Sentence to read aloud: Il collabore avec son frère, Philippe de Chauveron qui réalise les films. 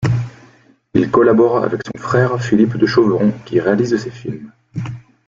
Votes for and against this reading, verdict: 1, 3, rejected